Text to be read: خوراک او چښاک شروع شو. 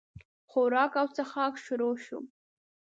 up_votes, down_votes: 2, 0